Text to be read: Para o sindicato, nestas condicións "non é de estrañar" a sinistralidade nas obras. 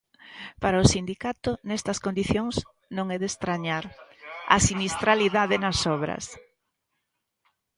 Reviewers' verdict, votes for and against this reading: rejected, 0, 2